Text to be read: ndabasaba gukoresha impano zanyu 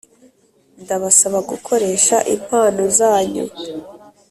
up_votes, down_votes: 2, 0